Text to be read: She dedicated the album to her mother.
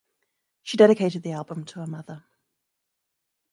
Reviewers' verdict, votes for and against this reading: accepted, 2, 0